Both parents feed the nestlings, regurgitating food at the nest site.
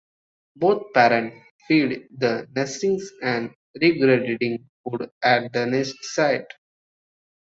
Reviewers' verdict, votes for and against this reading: rejected, 0, 2